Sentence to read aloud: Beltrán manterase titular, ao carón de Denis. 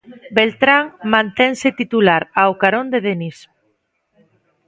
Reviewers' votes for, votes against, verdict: 0, 2, rejected